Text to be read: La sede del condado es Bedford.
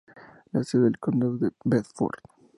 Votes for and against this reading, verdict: 0, 2, rejected